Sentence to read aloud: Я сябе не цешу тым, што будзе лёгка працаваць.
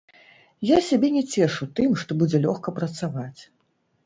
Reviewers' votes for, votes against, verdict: 1, 2, rejected